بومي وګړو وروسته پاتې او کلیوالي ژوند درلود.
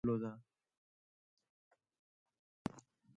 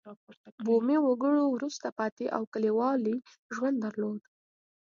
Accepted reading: second